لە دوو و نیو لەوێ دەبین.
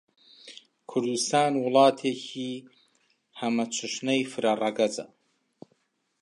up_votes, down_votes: 1, 2